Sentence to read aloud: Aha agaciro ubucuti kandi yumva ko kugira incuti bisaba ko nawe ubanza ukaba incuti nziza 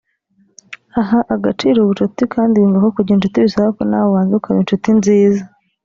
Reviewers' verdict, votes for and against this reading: accepted, 2, 0